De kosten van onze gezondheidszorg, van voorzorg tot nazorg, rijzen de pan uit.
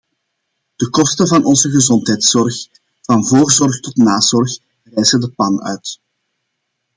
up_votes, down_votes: 2, 0